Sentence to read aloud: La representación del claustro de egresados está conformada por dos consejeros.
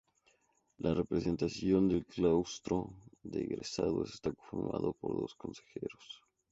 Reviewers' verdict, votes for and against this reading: rejected, 0, 2